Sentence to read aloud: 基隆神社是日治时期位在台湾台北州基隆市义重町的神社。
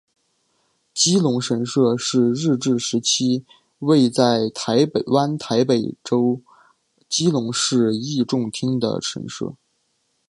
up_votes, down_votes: 2, 0